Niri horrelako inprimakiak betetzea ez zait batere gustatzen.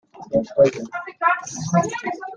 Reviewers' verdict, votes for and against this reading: rejected, 1, 2